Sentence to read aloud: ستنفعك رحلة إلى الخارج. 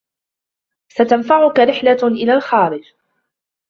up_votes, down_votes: 2, 0